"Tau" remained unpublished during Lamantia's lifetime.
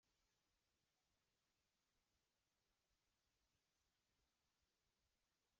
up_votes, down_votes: 0, 2